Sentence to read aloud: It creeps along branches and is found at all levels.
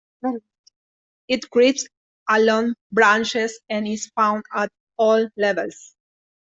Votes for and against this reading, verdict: 2, 0, accepted